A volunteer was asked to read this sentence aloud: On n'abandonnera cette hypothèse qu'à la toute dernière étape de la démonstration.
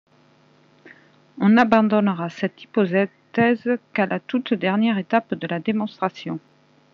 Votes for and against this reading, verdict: 0, 2, rejected